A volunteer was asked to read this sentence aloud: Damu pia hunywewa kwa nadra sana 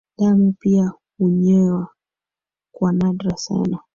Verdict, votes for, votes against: accepted, 2, 1